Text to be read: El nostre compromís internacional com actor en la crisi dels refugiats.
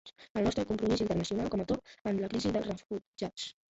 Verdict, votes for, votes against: rejected, 0, 2